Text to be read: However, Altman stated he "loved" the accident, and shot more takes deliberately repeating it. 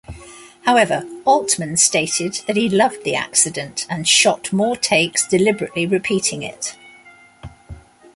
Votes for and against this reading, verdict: 1, 2, rejected